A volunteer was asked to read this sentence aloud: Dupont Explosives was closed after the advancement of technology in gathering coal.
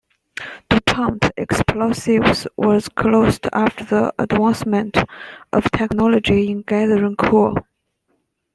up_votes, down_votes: 1, 2